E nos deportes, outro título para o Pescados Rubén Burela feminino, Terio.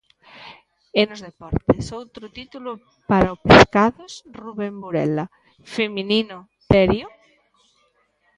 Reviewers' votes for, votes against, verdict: 1, 2, rejected